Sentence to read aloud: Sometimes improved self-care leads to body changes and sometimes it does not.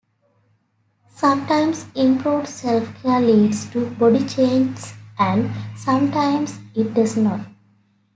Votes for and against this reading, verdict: 2, 0, accepted